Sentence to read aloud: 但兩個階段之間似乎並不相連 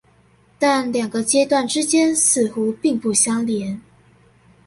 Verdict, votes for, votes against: accepted, 2, 0